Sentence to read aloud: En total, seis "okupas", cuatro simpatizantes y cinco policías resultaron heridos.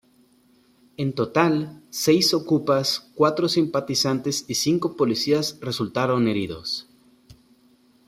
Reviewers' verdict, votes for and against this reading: accepted, 2, 0